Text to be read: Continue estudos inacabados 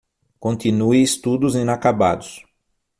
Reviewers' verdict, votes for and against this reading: accepted, 6, 0